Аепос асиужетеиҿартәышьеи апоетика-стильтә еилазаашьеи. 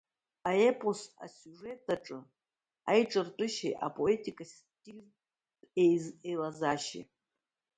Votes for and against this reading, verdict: 0, 2, rejected